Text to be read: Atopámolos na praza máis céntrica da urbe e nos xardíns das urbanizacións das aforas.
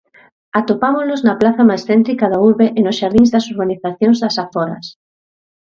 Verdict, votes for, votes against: accepted, 2, 0